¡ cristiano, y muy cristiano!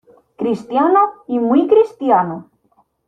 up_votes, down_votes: 1, 2